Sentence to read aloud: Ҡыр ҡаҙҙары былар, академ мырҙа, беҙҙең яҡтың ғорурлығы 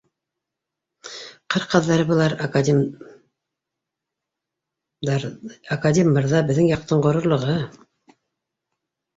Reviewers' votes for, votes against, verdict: 0, 2, rejected